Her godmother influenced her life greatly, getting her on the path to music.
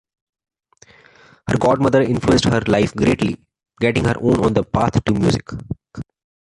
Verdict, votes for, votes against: rejected, 1, 2